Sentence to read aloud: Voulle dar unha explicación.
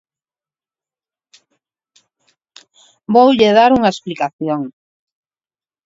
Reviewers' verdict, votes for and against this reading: accepted, 4, 0